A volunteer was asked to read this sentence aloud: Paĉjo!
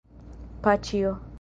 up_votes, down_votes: 3, 1